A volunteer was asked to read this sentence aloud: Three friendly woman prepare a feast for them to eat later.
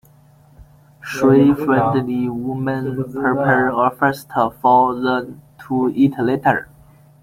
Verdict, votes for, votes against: rejected, 0, 2